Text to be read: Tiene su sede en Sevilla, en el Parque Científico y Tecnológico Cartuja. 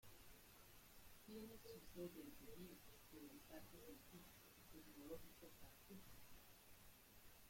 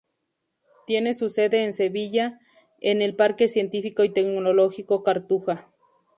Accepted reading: second